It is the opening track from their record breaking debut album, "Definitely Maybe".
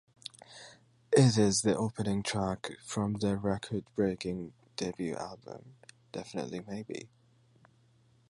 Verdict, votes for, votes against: accepted, 2, 0